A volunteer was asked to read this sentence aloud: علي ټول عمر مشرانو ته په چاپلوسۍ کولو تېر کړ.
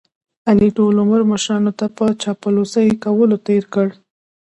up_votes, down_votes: 0, 2